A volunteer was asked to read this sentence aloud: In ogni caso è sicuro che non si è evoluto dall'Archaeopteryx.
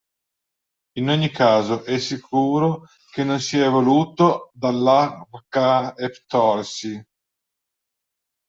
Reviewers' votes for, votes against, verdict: 0, 2, rejected